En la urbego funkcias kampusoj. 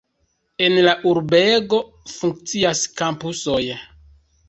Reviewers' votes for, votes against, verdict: 1, 2, rejected